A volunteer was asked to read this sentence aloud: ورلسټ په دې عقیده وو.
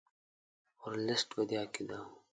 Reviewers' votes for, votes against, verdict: 2, 0, accepted